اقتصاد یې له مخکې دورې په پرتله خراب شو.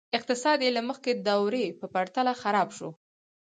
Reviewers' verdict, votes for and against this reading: rejected, 2, 4